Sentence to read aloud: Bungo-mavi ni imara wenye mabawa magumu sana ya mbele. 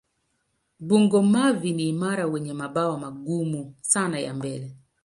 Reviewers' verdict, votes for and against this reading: accepted, 2, 0